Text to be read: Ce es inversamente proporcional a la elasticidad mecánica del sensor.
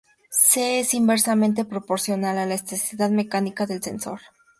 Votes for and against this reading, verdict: 0, 2, rejected